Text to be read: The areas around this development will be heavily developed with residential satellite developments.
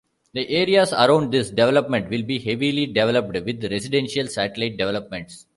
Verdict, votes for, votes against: accepted, 2, 0